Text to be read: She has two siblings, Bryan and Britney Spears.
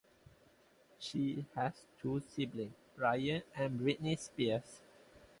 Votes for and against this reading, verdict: 0, 2, rejected